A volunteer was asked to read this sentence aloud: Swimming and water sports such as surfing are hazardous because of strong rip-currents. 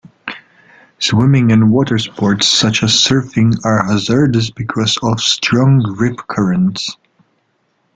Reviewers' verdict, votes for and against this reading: rejected, 1, 2